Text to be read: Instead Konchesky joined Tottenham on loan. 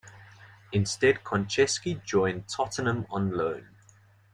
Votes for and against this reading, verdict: 3, 0, accepted